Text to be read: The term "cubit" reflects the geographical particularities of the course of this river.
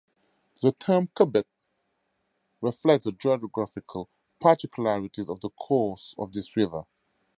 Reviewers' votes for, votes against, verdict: 2, 0, accepted